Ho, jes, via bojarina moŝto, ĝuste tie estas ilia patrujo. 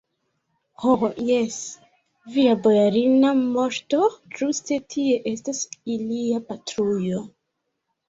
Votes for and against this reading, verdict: 1, 2, rejected